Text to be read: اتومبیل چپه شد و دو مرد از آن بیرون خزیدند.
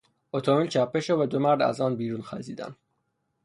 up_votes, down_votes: 3, 0